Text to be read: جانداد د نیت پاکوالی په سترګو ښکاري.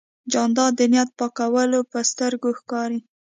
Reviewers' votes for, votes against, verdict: 2, 0, accepted